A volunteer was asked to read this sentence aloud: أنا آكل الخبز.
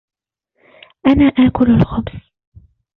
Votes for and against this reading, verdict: 2, 1, accepted